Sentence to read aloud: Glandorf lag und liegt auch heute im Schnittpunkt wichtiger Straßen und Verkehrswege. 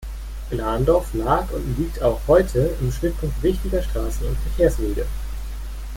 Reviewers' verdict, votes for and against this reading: accepted, 2, 0